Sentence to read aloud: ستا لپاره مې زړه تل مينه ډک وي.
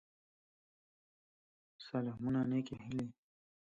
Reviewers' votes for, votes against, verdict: 0, 2, rejected